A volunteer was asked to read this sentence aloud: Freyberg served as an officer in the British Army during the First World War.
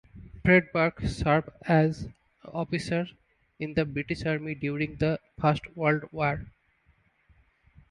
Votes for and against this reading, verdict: 2, 0, accepted